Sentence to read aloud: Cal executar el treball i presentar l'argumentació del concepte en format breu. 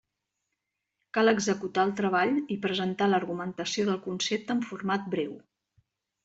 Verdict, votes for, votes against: accepted, 4, 0